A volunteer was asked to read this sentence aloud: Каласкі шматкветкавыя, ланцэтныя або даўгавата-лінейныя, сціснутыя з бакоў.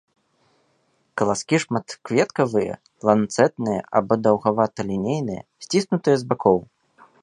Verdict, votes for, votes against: accepted, 2, 0